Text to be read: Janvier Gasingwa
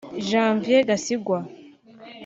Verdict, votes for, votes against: accepted, 2, 0